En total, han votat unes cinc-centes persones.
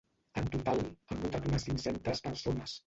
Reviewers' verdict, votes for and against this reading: rejected, 0, 2